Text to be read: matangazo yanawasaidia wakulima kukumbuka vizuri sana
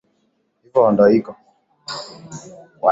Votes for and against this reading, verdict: 0, 3, rejected